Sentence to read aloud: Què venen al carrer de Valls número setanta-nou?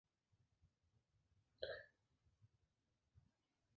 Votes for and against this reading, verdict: 0, 2, rejected